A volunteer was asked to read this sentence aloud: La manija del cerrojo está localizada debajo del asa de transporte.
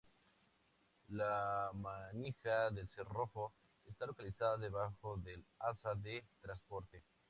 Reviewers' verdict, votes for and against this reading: rejected, 0, 2